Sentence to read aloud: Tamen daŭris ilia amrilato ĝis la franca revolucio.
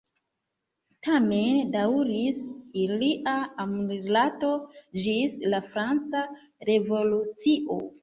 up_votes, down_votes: 1, 2